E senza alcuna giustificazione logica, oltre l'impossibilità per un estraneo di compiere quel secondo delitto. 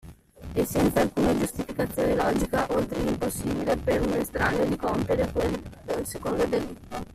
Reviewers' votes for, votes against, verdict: 1, 2, rejected